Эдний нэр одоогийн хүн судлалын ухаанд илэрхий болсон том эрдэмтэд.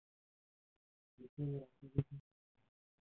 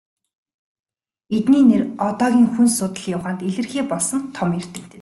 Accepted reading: second